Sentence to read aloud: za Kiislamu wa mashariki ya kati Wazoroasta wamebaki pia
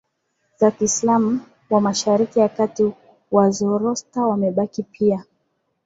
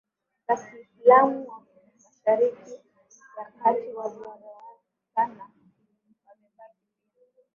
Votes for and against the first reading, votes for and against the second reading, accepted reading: 2, 0, 0, 2, first